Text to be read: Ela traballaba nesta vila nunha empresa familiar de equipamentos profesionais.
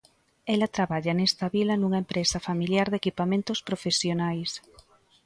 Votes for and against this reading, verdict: 0, 2, rejected